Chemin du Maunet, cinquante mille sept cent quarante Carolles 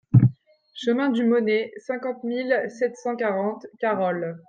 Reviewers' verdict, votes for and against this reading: accepted, 2, 0